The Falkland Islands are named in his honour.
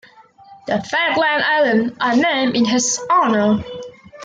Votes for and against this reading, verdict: 1, 2, rejected